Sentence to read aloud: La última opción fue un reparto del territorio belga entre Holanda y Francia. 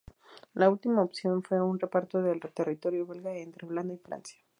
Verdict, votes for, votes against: rejected, 0, 4